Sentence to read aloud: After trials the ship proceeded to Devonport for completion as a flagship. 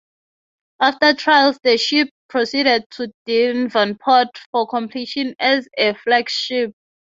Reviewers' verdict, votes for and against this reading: rejected, 0, 3